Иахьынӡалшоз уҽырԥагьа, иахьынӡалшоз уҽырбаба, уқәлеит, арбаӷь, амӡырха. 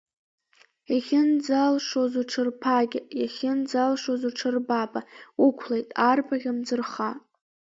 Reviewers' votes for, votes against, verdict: 2, 0, accepted